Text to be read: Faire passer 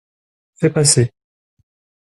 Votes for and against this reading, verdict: 1, 2, rejected